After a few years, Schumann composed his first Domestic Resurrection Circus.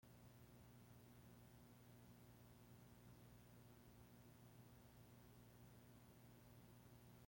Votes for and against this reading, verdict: 1, 2, rejected